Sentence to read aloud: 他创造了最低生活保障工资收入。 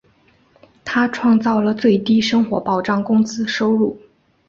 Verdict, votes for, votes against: accepted, 4, 0